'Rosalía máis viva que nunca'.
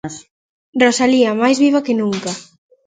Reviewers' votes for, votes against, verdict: 1, 2, rejected